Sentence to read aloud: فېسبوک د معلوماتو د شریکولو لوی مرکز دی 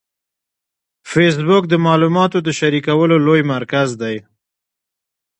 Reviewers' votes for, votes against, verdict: 2, 0, accepted